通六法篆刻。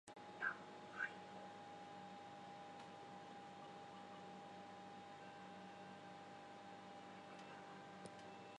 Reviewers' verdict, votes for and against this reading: rejected, 1, 2